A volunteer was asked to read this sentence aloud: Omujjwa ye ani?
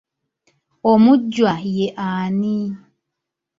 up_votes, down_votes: 1, 2